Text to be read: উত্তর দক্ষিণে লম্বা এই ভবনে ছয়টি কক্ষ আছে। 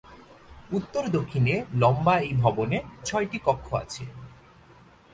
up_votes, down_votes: 2, 0